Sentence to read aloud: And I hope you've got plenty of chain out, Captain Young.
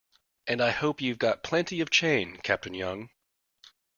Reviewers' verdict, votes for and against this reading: rejected, 0, 2